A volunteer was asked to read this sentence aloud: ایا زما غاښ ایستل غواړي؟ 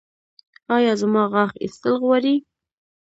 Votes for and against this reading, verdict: 2, 0, accepted